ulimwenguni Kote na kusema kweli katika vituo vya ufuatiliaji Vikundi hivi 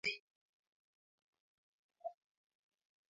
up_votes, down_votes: 0, 2